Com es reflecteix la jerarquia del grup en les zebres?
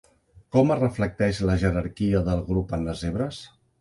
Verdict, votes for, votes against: accepted, 2, 0